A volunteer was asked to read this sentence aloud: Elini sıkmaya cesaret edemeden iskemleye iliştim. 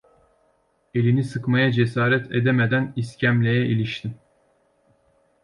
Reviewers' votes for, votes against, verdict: 2, 0, accepted